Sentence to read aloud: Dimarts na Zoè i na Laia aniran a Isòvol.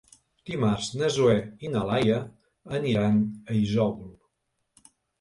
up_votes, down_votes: 3, 0